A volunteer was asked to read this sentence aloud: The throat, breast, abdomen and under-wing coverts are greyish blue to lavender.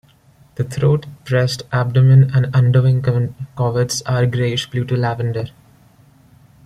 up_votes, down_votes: 0, 2